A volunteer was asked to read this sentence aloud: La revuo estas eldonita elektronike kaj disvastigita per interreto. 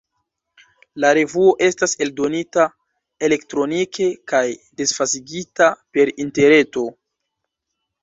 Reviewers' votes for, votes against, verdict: 1, 2, rejected